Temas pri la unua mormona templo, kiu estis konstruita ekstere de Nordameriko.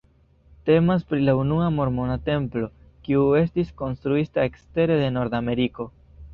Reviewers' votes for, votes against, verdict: 2, 0, accepted